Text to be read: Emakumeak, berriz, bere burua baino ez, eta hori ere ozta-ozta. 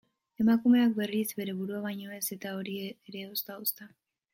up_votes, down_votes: 0, 2